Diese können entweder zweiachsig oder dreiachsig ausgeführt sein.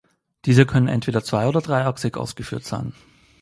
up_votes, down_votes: 0, 2